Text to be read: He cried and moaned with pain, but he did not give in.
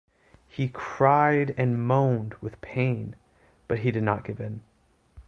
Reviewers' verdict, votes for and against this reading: accepted, 2, 0